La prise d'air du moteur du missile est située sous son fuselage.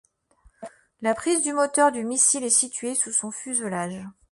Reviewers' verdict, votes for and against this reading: accepted, 2, 1